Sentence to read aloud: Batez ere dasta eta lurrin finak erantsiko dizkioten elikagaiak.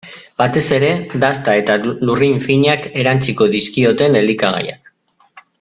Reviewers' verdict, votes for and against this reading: rejected, 1, 2